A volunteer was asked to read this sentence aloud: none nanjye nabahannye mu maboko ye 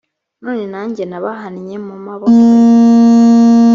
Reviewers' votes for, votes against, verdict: 1, 3, rejected